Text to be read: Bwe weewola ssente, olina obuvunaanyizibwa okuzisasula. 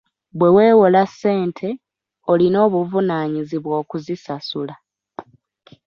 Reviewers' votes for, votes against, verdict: 2, 0, accepted